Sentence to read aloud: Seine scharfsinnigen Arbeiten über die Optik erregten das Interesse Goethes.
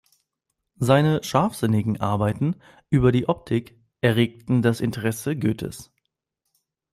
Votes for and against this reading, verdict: 2, 0, accepted